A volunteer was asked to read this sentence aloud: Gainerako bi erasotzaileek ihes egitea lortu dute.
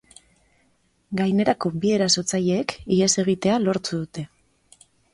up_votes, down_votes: 2, 0